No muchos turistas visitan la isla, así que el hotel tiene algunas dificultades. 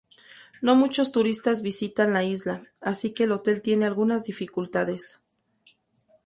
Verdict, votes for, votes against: accepted, 2, 0